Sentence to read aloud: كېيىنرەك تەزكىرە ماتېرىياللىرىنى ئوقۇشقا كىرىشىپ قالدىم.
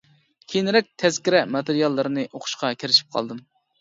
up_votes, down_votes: 2, 0